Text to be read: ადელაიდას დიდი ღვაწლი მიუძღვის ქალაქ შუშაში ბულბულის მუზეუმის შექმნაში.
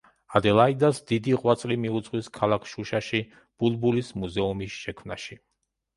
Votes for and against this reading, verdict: 2, 0, accepted